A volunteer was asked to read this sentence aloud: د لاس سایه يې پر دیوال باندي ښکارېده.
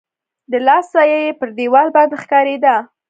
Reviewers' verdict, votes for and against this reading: rejected, 0, 2